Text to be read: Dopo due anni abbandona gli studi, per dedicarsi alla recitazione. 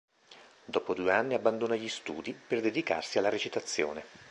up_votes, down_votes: 2, 0